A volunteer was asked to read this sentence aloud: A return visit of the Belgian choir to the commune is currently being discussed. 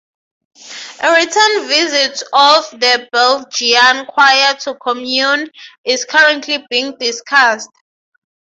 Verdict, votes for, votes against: rejected, 3, 3